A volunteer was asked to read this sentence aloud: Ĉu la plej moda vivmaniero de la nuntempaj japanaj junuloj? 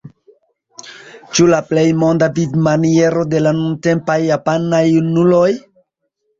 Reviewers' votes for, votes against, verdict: 1, 2, rejected